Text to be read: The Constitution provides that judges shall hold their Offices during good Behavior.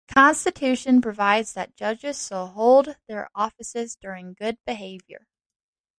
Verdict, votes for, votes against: rejected, 1, 2